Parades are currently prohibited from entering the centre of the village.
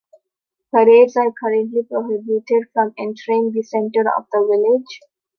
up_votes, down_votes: 2, 0